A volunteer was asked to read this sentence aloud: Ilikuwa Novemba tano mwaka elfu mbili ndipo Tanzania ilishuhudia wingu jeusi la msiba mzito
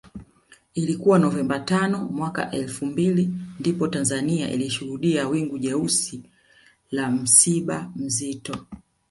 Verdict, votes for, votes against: accepted, 2, 1